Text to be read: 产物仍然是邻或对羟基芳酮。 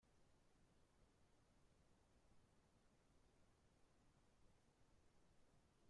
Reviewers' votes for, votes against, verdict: 0, 2, rejected